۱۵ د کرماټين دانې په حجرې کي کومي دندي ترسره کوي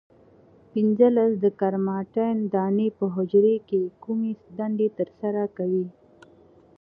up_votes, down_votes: 0, 2